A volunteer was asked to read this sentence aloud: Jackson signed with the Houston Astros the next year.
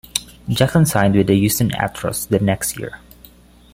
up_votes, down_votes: 1, 2